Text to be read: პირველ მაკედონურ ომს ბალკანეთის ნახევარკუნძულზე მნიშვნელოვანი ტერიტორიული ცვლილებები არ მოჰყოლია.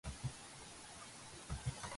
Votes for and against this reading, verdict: 1, 2, rejected